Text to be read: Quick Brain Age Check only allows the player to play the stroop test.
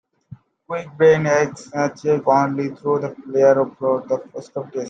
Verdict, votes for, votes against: rejected, 0, 2